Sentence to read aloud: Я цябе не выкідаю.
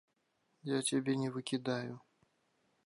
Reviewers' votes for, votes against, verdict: 2, 0, accepted